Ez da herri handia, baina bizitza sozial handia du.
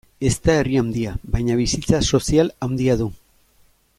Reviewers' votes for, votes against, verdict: 2, 0, accepted